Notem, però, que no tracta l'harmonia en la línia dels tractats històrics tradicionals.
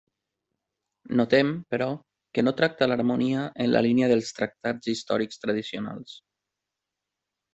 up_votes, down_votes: 3, 0